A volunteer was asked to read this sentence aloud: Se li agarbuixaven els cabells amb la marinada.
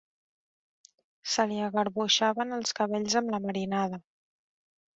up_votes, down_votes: 1, 2